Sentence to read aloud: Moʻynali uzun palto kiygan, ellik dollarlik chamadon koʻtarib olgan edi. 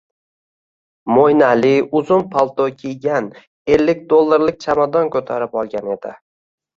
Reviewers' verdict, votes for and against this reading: rejected, 1, 2